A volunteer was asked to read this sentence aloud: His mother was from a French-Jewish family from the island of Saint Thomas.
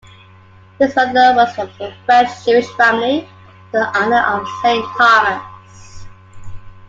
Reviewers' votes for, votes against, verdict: 2, 1, accepted